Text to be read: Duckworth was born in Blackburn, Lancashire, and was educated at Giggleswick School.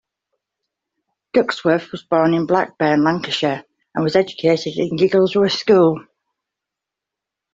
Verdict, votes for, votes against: rejected, 0, 2